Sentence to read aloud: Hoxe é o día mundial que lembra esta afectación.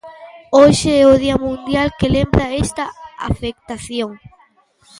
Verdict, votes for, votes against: accepted, 2, 0